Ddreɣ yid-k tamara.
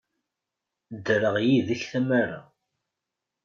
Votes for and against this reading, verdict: 2, 0, accepted